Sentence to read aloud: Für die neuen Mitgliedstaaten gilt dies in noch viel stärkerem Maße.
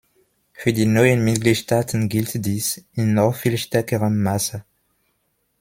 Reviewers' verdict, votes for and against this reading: accepted, 2, 0